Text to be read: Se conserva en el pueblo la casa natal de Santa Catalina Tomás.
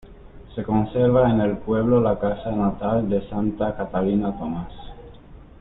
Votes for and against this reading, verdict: 2, 0, accepted